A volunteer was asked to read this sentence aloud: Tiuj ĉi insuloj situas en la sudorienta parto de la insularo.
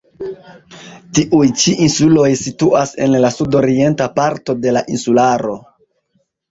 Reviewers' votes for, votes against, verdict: 1, 2, rejected